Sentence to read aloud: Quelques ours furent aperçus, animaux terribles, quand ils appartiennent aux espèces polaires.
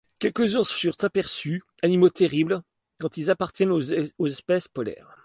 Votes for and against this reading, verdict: 0, 2, rejected